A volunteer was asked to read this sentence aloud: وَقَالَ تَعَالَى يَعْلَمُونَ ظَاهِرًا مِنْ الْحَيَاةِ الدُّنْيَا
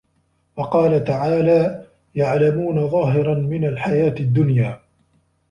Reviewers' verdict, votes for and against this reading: accepted, 2, 1